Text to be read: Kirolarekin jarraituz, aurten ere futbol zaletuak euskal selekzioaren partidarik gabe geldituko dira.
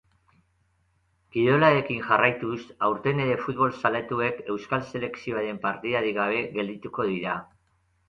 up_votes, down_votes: 2, 4